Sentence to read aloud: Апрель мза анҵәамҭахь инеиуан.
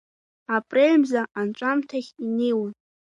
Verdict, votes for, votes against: accepted, 2, 0